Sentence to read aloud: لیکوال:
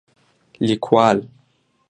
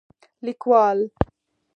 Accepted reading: first